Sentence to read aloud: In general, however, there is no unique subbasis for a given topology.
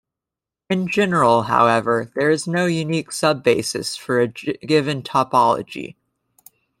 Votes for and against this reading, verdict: 0, 2, rejected